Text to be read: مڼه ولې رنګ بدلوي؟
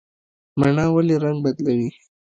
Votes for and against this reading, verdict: 2, 1, accepted